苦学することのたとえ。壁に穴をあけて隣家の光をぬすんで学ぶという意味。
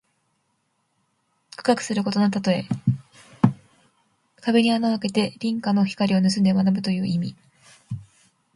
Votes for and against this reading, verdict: 2, 1, accepted